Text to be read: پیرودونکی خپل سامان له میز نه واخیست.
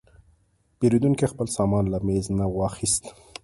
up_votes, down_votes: 3, 0